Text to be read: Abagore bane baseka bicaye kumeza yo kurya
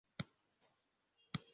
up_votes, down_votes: 0, 2